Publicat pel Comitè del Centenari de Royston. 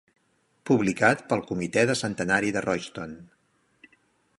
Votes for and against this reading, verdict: 3, 5, rejected